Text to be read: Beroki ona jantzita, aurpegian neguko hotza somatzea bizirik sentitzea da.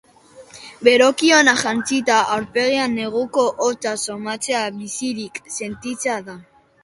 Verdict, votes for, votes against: accepted, 5, 0